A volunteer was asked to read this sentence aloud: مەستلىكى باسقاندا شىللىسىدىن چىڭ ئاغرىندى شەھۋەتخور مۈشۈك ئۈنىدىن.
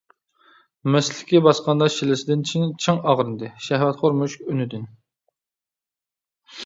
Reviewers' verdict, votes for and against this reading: rejected, 1, 2